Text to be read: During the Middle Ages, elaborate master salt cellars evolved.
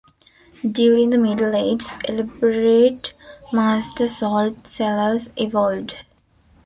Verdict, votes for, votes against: rejected, 0, 2